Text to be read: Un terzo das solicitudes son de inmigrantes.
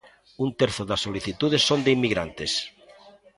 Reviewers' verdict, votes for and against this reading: accepted, 3, 0